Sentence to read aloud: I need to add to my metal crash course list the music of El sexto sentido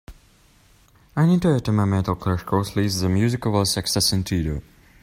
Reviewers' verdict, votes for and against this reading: accepted, 2, 0